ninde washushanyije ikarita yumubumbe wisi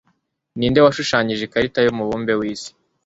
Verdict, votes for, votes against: accepted, 2, 0